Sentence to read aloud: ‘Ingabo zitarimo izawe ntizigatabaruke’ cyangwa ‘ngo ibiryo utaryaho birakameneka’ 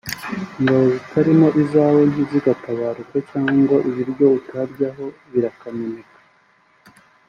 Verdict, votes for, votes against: accepted, 4, 0